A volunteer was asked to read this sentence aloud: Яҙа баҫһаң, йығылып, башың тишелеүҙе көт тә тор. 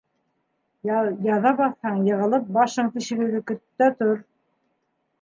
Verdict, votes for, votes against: rejected, 0, 2